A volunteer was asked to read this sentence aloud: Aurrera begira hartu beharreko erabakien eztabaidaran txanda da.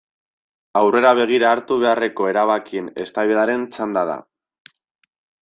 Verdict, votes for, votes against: accepted, 2, 0